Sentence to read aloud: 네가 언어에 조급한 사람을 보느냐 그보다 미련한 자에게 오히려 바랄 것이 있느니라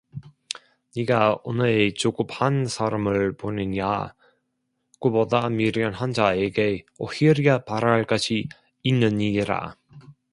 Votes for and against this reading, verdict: 1, 2, rejected